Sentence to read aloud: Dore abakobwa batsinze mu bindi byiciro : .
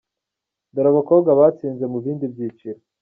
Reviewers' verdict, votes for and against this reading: accepted, 2, 0